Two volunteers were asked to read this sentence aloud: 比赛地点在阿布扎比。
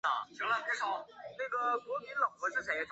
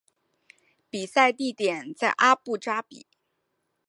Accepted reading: second